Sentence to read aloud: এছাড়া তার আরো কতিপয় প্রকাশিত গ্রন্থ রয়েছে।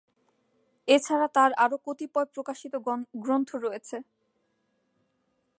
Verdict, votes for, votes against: rejected, 0, 2